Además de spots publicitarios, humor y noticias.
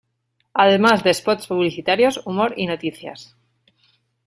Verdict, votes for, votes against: rejected, 1, 2